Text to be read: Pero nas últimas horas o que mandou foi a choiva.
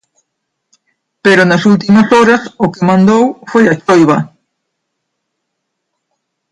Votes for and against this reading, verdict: 1, 2, rejected